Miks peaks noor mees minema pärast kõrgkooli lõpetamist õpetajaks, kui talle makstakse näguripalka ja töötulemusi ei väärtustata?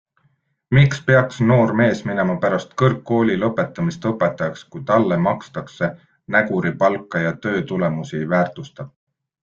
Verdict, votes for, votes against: rejected, 1, 2